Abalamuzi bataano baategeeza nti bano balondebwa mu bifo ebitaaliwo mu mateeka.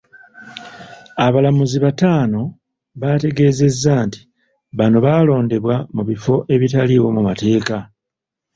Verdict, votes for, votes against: rejected, 1, 2